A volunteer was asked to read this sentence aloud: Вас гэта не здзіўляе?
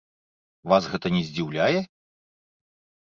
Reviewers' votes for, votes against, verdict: 2, 0, accepted